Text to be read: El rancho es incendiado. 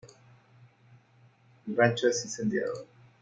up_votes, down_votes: 2, 0